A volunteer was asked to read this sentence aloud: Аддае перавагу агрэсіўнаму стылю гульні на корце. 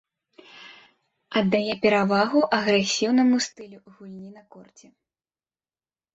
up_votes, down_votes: 1, 2